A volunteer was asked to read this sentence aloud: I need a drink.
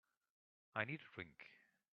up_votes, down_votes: 2, 3